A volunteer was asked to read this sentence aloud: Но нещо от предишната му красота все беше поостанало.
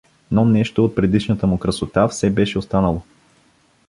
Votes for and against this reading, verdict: 1, 2, rejected